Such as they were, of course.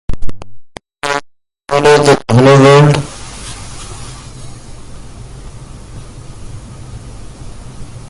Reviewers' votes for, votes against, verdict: 0, 2, rejected